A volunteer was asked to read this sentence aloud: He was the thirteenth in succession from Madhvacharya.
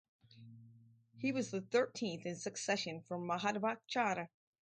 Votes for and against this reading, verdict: 4, 0, accepted